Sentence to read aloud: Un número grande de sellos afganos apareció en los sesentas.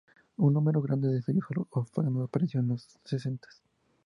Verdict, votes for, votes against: accepted, 2, 0